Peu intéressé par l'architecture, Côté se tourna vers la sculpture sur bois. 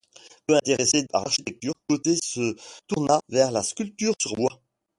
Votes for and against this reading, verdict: 0, 2, rejected